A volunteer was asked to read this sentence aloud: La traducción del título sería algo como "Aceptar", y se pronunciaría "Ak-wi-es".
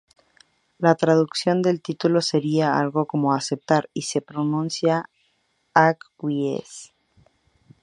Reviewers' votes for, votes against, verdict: 0, 2, rejected